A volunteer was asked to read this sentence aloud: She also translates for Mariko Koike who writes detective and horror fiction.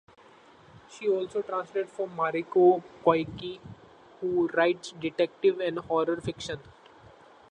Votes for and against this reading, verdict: 1, 2, rejected